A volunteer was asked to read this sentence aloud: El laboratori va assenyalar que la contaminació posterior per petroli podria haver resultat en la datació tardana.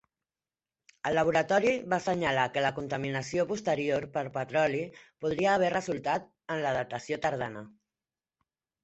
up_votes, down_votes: 2, 0